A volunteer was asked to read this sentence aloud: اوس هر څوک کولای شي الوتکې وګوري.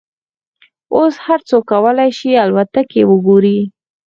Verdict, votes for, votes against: rejected, 0, 4